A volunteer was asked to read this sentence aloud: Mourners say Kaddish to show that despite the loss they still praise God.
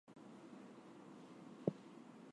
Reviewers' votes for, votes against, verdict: 0, 2, rejected